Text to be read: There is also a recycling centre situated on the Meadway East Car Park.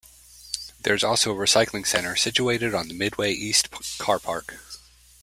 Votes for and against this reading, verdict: 0, 2, rejected